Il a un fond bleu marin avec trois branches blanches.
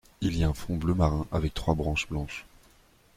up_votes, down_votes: 1, 2